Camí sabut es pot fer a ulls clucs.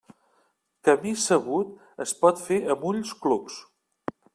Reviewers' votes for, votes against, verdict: 0, 2, rejected